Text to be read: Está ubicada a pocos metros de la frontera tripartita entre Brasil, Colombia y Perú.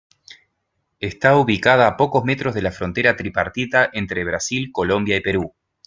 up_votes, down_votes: 2, 0